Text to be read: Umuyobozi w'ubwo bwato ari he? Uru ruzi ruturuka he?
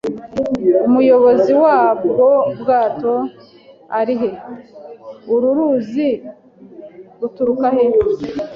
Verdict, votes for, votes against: rejected, 1, 3